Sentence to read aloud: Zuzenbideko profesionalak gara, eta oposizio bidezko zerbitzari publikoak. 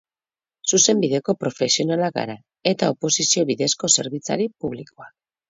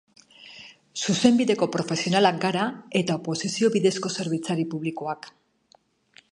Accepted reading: second